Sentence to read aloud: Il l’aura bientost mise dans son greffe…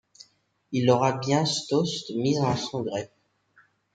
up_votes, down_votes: 1, 2